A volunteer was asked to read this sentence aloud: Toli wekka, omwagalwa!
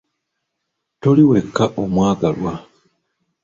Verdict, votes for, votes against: accepted, 2, 0